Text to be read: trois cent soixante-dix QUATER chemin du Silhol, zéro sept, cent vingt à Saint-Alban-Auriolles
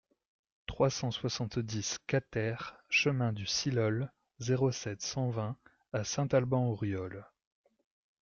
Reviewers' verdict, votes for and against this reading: accepted, 2, 0